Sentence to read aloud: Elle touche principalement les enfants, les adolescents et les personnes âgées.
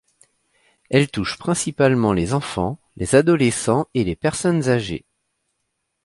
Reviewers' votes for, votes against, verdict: 2, 0, accepted